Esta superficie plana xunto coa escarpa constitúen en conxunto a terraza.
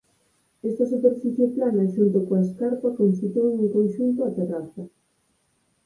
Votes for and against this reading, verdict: 2, 4, rejected